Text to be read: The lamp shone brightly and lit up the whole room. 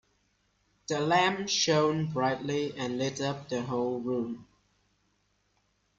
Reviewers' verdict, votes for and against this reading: accepted, 2, 0